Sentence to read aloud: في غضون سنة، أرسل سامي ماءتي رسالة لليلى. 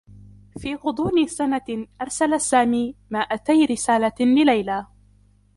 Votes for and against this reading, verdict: 0, 2, rejected